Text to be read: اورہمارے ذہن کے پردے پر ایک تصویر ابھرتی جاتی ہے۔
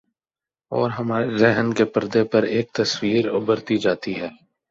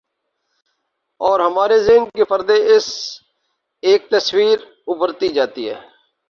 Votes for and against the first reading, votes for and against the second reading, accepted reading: 17, 0, 0, 2, first